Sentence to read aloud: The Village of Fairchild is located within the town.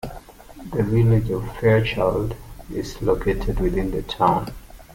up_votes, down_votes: 2, 0